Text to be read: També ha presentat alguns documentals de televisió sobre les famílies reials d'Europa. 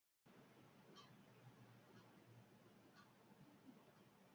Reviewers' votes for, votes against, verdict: 0, 2, rejected